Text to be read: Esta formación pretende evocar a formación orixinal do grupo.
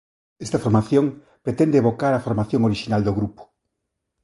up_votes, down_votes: 2, 0